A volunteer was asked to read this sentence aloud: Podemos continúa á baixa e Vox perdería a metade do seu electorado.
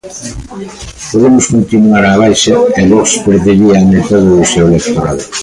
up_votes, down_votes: 0, 2